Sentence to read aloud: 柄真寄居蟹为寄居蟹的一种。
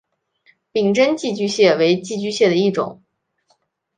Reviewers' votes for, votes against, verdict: 5, 0, accepted